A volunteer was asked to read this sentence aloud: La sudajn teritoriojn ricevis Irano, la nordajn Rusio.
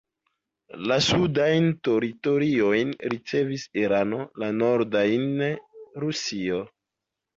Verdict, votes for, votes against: rejected, 1, 2